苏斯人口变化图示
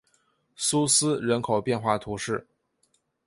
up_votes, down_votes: 3, 0